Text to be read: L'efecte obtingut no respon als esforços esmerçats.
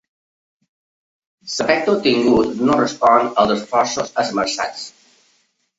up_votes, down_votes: 0, 2